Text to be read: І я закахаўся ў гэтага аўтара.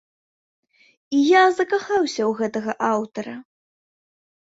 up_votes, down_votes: 2, 0